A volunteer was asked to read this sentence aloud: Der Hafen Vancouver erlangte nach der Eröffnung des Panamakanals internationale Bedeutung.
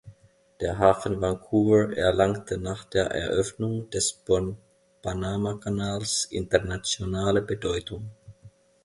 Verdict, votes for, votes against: rejected, 0, 2